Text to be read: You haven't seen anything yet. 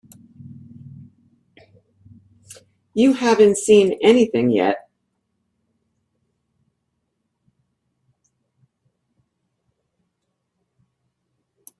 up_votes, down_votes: 2, 0